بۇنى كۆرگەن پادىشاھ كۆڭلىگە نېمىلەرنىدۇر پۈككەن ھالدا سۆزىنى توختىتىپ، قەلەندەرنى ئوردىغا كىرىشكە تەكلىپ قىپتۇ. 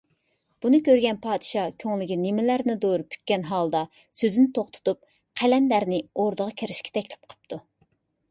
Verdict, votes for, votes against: accepted, 2, 0